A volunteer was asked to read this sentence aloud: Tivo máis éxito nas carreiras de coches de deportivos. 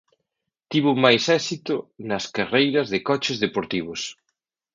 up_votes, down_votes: 1, 2